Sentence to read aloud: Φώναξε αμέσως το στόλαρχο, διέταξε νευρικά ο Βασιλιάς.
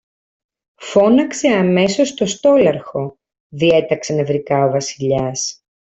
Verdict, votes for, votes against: accepted, 2, 0